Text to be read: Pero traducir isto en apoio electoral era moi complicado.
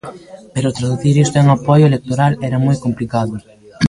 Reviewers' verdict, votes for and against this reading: rejected, 1, 2